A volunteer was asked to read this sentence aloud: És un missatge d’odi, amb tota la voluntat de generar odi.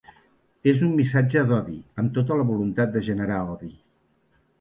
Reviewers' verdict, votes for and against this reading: accepted, 3, 0